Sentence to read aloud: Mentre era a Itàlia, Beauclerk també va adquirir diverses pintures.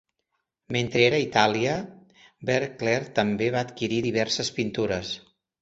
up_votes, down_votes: 2, 0